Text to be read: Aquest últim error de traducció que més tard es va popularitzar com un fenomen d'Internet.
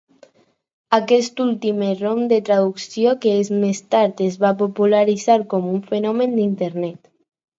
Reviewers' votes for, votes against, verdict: 0, 4, rejected